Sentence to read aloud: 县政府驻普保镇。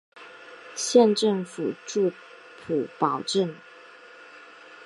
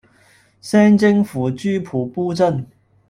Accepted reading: first